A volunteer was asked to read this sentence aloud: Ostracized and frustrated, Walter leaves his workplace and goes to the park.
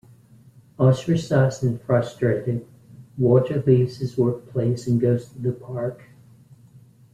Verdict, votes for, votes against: rejected, 1, 2